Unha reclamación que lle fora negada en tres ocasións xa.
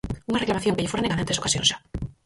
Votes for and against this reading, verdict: 2, 4, rejected